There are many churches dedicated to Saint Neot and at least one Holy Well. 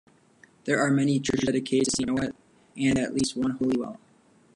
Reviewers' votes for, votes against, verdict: 0, 2, rejected